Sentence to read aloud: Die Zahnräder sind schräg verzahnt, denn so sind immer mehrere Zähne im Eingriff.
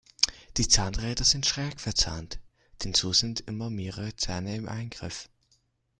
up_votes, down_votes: 2, 1